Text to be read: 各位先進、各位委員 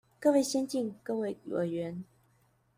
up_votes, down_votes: 1, 2